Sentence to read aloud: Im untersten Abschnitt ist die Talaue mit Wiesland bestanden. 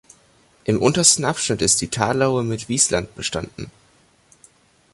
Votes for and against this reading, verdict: 2, 0, accepted